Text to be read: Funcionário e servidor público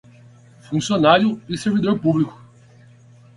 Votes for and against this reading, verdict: 8, 0, accepted